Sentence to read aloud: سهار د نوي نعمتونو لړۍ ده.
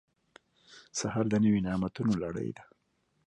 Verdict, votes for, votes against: accepted, 2, 1